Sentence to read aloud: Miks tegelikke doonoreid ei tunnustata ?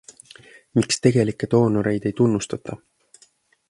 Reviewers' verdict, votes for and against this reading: accepted, 2, 0